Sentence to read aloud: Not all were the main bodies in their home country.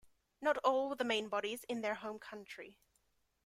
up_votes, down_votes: 0, 2